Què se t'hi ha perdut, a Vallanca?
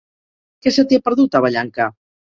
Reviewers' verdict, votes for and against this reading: accepted, 3, 0